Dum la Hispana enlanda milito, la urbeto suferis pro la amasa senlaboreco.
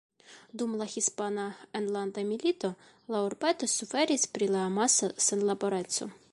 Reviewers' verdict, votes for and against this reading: rejected, 1, 2